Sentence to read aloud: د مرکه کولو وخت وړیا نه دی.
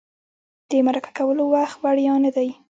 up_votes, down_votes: 1, 2